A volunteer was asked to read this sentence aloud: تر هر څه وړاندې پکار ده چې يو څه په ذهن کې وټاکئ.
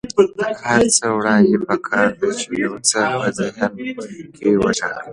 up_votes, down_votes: 0, 2